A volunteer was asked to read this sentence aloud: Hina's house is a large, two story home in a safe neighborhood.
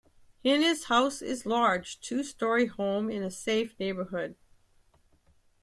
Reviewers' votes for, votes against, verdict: 2, 0, accepted